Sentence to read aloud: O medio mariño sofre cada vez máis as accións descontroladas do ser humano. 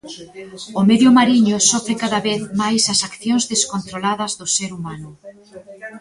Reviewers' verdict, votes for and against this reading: rejected, 1, 2